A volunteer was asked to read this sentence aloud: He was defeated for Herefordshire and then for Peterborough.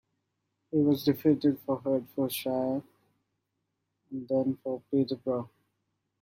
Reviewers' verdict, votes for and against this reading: accepted, 2, 1